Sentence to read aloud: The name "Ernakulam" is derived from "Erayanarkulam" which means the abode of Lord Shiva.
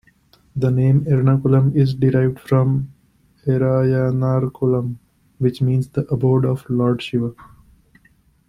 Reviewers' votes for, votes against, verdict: 2, 0, accepted